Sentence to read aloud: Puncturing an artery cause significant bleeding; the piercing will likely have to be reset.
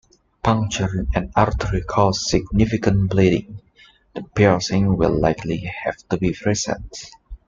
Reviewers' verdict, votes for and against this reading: accepted, 2, 0